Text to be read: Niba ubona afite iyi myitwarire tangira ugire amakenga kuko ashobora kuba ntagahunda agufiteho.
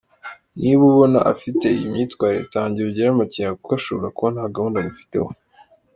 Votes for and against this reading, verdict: 2, 0, accepted